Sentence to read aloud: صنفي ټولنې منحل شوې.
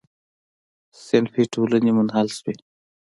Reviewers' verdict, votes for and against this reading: rejected, 0, 2